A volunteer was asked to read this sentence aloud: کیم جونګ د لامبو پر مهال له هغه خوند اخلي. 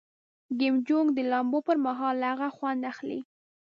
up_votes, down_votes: 2, 0